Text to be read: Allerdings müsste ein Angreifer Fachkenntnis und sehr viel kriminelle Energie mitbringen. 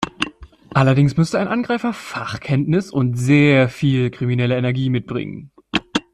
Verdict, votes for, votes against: accepted, 2, 1